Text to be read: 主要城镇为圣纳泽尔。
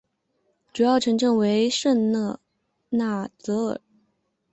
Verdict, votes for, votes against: rejected, 1, 3